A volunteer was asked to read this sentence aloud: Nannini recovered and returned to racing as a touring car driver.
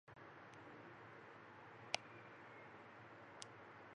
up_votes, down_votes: 0, 2